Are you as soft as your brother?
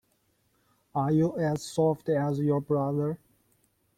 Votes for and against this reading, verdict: 2, 1, accepted